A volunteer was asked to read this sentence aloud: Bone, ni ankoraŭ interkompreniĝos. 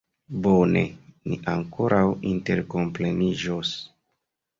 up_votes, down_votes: 2, 0